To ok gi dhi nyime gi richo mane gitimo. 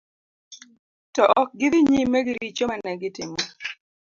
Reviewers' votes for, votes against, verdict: 2, 0, accepted